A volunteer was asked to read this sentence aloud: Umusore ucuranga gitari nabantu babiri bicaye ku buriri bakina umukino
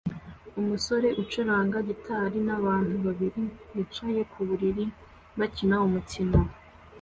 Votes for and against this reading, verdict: 2, 0, accepted